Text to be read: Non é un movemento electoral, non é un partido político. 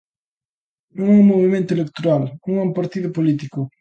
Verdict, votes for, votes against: accepted, 2, 0